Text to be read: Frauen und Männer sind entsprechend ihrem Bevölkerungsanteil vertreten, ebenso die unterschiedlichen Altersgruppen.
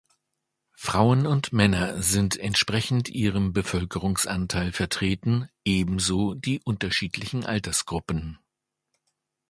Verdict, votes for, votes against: accepted, 2, 0